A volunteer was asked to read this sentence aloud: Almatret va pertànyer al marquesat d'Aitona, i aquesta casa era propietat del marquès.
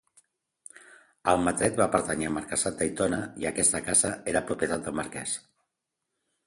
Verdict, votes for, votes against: accepted, 2, 0